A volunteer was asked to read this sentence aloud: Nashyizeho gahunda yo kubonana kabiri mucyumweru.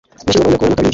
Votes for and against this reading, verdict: 0, 2, rejected